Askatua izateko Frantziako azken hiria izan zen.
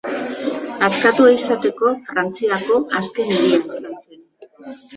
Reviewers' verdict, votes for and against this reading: rejected, 0, 2